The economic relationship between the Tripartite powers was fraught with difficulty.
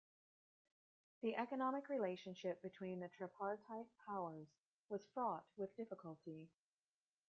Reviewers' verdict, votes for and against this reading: rejected, 0, 2